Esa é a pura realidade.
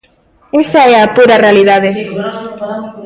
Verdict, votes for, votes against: accepted, 2, 1